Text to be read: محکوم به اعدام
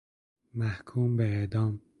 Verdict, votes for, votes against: accepted, 2, 0